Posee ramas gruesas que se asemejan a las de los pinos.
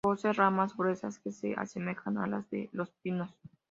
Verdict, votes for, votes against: accepted, 2, 0